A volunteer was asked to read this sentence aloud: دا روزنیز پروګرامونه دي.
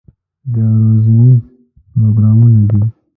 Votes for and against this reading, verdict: 0, 2, rejected